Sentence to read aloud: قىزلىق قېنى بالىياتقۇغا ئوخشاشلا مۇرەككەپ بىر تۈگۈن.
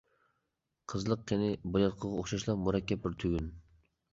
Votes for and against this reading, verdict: 2, 1, accepted